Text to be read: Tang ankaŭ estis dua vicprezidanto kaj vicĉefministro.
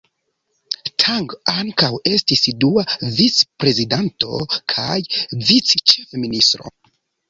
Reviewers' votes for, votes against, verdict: 0, 2, rejected